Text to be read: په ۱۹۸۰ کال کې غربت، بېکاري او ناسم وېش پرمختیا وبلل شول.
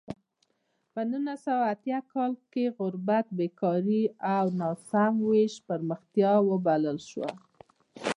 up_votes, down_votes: 0, 2